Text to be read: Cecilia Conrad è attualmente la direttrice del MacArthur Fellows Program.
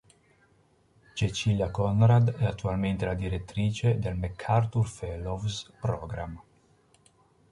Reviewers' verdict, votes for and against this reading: accepted, 2, 0